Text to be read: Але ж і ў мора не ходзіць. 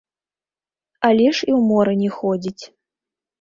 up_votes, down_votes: 0, 2